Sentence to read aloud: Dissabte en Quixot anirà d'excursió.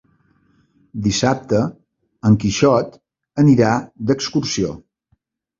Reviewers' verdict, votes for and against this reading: accepted, 3, 0